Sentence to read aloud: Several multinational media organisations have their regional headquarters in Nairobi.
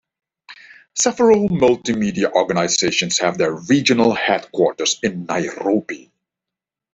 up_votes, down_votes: 1, 2